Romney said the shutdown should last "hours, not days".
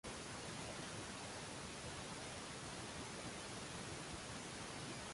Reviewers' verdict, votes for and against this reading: rejected, 0, 2